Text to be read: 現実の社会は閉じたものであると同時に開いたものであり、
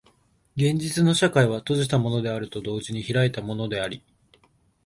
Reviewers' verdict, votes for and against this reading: accepted, 3, 1